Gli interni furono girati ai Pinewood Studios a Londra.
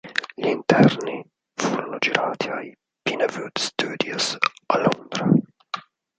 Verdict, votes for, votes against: rejected, 0, 4